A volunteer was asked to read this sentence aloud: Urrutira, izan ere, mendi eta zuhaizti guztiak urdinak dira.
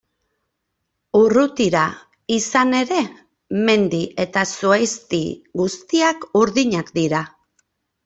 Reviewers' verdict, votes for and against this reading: accepted, 2, 0